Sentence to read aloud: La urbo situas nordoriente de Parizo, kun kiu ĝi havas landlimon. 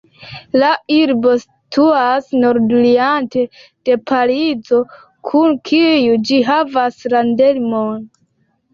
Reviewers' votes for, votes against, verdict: 1, 2, rejected